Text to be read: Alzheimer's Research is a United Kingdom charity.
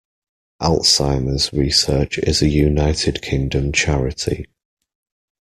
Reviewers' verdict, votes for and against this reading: accepted, 2, 0